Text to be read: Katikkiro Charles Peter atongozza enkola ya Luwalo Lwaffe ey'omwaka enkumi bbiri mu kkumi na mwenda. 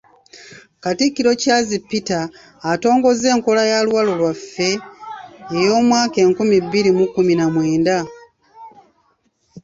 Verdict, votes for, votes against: accepted, 2, 0